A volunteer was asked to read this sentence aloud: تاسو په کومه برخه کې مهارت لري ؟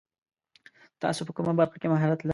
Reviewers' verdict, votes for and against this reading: rejected, 0, 2